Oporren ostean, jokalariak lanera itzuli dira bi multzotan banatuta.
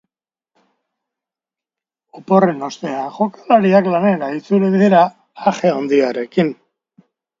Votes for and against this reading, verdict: 0, 2, rejected